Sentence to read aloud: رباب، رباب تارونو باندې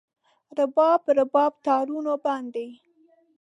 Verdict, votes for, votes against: accepted, 2, 0